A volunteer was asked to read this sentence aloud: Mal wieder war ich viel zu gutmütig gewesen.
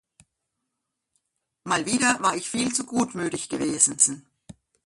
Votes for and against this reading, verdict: 1, 2, rejected